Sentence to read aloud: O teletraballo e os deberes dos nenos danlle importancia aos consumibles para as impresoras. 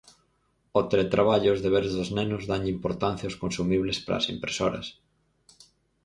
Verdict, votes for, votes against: accepted, 6, 0